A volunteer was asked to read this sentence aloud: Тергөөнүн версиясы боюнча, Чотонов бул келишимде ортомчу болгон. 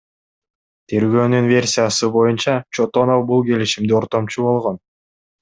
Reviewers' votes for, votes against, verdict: 2, 0, accepted